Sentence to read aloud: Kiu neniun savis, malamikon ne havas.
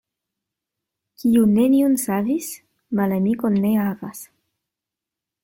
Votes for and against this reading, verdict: 1, 2, rejected